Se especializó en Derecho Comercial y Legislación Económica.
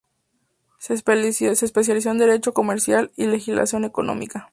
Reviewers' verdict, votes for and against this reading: accepted, 2, 0